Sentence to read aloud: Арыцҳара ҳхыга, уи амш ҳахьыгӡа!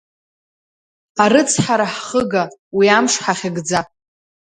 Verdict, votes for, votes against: accepted, 2, 0